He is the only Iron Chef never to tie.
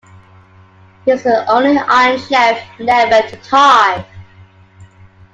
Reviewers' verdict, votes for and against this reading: accepted, 2, 0